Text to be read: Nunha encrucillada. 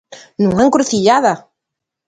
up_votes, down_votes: 2, 0